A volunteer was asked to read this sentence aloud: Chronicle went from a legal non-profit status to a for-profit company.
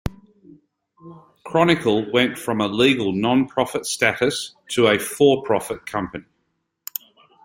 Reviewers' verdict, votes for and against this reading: accepted, 2, 1